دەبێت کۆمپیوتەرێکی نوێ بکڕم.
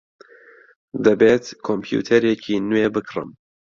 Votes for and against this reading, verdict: 2, 0, accepted